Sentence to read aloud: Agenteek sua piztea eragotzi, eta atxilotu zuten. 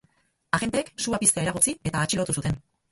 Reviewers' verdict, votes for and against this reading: rejected, 2, 6